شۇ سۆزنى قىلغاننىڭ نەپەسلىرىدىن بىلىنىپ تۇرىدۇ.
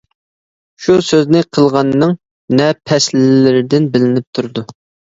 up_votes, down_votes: 2, 0